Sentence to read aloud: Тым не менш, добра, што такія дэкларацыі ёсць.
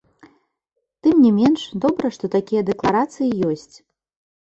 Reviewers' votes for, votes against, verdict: 2, 0, accepted